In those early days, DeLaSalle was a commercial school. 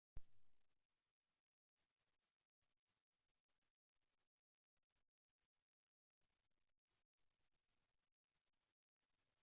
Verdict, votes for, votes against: rejected, 0, 2